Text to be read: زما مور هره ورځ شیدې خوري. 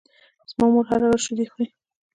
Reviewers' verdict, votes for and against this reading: rejected, 0, 2